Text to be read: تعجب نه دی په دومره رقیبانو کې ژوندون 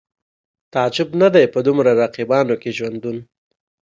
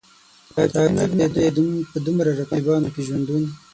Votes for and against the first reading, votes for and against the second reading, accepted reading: 2, 0, 3, 6, first